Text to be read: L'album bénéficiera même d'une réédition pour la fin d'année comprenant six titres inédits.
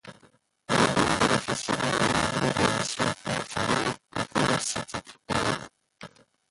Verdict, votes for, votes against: rejected, 0, 2